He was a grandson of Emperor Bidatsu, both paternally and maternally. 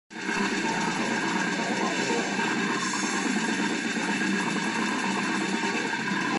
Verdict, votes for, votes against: rejected, 0, 3